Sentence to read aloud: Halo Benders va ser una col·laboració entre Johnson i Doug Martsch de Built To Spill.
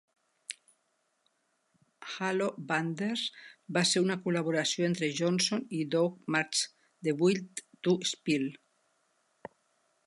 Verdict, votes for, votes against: accepted, 2, 0